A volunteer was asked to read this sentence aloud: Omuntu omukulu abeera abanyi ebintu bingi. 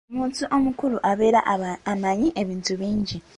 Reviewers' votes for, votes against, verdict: 1, 2, rejected